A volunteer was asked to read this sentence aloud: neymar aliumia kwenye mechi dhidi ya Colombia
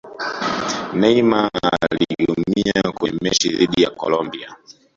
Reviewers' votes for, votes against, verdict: 1, 2, rejected